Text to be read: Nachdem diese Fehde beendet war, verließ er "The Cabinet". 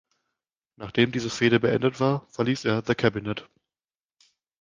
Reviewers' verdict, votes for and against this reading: accepted, 2, 0